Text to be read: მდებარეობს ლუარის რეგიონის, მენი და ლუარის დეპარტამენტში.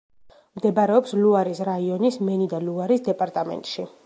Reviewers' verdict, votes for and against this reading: rejected, 0, 2